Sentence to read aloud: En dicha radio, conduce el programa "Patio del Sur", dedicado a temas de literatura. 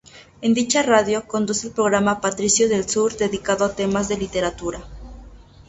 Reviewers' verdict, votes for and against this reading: rejected, 0, 2